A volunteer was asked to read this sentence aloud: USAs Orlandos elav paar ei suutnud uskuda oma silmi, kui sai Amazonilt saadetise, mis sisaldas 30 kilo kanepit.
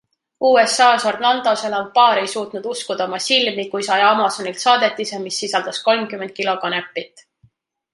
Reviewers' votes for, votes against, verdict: 0, 2, rejected